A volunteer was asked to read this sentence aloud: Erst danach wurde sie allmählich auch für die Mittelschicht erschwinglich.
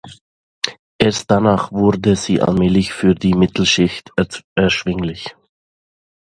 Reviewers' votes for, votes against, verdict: 1, 2, rejected